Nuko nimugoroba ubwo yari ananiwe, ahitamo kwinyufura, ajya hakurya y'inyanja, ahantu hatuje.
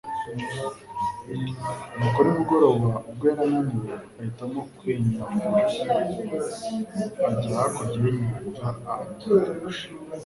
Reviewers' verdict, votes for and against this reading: rejected, 1, 2